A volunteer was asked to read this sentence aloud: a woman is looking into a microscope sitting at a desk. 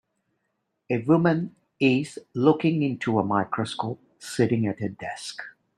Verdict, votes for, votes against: rejected, 1, 2